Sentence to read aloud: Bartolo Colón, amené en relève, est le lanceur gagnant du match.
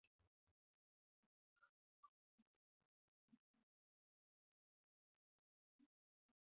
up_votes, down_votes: 0, 2